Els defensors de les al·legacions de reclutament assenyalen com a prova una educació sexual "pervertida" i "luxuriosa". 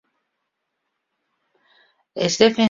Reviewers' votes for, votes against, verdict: 0, 2, rejected